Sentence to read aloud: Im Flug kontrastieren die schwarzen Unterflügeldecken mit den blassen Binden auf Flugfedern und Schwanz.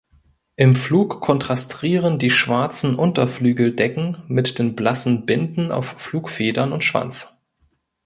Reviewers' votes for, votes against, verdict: 1, 2, rejected